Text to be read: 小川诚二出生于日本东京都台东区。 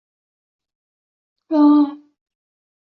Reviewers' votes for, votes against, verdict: 0, 2, rejected